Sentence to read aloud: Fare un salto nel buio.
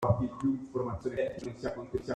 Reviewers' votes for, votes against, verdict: 0, 2, rejected